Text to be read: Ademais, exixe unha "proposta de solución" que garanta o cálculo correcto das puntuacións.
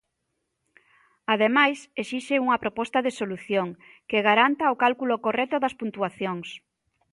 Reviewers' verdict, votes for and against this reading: accepted, 2, 0